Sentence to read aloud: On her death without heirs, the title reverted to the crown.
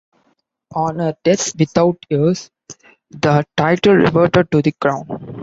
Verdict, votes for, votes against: accepted, 2, 0